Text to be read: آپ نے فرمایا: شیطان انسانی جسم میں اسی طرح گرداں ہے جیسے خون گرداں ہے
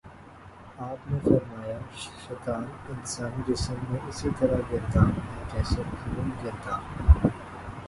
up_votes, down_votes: 2, 4